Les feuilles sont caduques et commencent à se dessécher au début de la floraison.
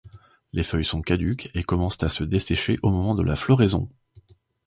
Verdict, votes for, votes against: rejected, 0, 2